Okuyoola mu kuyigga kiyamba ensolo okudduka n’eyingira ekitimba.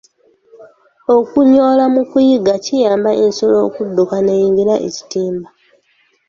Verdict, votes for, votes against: accepted, 2, 1